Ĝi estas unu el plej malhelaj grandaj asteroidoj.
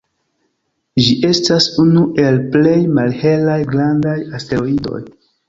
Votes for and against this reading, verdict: 2, 0, accepted